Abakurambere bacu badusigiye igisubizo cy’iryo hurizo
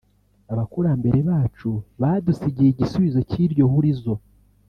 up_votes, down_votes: 3, 0